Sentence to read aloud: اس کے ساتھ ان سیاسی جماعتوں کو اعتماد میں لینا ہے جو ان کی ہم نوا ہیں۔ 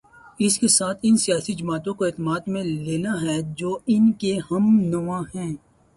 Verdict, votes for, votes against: rejected, 0, 2